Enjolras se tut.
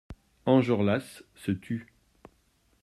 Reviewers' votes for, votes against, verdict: 2, 3, rejected